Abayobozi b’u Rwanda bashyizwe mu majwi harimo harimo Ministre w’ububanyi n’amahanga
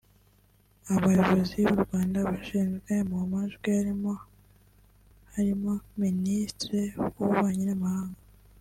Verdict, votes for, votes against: accepted, 2, 1